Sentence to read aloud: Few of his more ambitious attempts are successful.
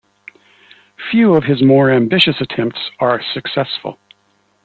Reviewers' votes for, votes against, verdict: 2, 0, accepted